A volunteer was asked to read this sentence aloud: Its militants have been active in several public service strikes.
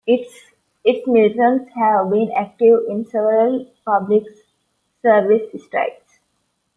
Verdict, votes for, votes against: rejected, 0, 2